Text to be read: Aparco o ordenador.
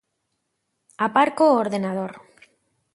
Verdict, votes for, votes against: accepted, 2, 0